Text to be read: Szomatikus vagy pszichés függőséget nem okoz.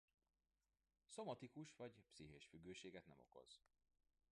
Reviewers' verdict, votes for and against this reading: rejected, 0, 2